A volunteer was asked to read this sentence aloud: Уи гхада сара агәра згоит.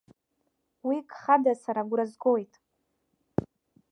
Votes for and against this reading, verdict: 2, 0, accepted